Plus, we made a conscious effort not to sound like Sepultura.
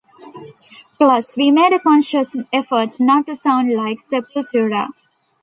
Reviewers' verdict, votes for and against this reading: accepted, 2, 0